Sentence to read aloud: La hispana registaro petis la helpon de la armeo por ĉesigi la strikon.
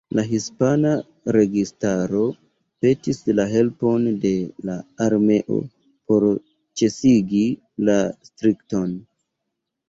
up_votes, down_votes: 0, 2